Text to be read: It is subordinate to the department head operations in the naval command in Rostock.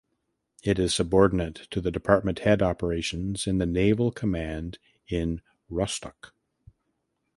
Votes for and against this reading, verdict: 2, 0, accepted